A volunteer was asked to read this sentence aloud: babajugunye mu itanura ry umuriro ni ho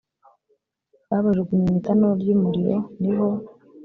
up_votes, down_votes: 2, 0